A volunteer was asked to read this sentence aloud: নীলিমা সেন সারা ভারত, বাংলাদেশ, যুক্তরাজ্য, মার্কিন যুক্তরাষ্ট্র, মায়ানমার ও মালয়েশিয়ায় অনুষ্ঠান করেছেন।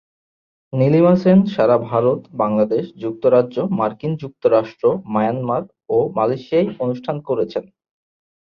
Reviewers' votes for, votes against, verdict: 2, 0, accepted